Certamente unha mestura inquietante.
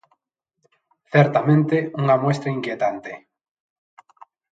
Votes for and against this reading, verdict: 0, 2, rejected